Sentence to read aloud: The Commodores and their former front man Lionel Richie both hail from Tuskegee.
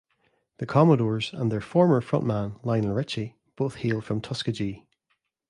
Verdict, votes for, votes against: accepted, 2, 0